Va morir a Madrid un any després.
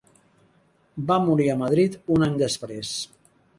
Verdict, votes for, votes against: accepted, 2, 0